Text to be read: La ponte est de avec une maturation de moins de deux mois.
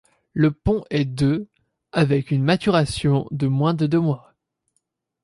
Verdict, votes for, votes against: rejected, 0, 2